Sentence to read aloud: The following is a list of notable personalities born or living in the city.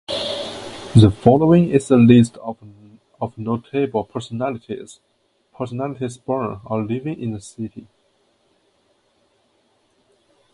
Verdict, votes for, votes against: rejected, 0, 2